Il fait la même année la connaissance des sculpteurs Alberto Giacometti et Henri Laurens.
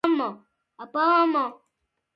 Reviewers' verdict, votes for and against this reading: rejected, 0, 2